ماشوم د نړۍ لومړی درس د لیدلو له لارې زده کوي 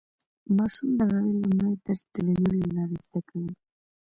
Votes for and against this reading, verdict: 0, 2, rejected